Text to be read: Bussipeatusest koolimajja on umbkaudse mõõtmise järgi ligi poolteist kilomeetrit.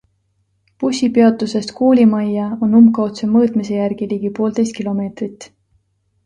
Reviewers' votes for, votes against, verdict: 2, 0, accepted